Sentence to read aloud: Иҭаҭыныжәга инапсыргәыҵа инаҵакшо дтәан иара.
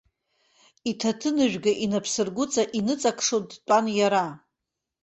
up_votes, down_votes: 3, 0